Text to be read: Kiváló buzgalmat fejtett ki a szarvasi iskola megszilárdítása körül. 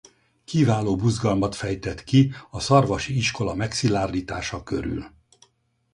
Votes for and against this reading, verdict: 4, 0, accepted